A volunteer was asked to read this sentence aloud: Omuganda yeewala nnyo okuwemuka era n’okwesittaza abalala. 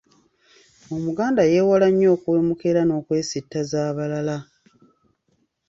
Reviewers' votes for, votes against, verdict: 3, 0, accepted